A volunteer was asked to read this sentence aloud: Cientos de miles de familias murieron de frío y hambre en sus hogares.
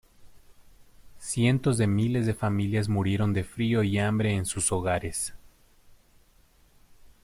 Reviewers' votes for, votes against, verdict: 2, 0, accepted